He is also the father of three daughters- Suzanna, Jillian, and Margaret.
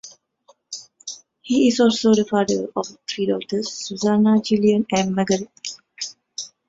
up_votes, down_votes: 3, 0